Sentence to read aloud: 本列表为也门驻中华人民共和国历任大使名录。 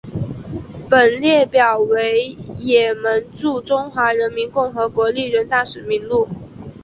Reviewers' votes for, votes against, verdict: 4, 1, accepted